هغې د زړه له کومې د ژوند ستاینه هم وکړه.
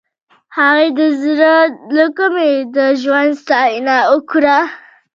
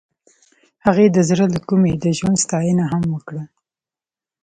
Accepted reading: second